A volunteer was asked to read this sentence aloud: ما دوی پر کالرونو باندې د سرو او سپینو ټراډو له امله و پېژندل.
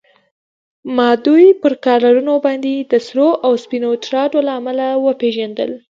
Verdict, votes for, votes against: accepted, 4, 0